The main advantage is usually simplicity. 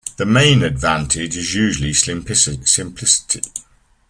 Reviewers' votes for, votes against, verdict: 0, 2, rejected